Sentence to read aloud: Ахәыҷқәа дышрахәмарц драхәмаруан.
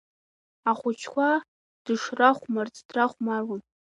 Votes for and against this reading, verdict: 1, 2, rejected